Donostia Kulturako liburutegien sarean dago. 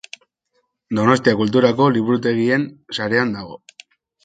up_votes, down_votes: 2, 0